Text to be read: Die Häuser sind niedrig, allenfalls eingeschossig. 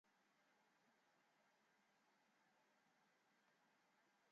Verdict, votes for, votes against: rejected, 0, 2